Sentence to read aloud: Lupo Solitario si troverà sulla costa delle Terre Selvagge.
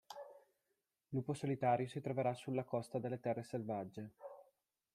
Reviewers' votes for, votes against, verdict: 2, 0, accepted